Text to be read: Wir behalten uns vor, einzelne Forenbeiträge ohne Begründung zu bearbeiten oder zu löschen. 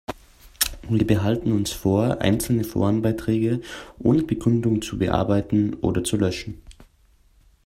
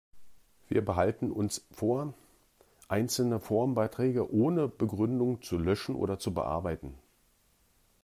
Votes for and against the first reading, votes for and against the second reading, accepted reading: 2, 0, 0, 2, first